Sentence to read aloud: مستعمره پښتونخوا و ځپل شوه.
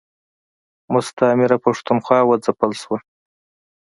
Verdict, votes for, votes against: accepted, 2, 0